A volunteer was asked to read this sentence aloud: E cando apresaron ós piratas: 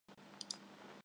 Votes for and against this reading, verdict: 0, 2, rejected